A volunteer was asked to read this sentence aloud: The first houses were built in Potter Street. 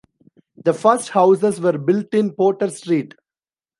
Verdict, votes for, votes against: accepted, 2, 0